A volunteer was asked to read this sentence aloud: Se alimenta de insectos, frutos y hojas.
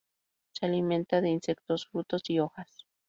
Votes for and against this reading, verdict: 2, 0, accepted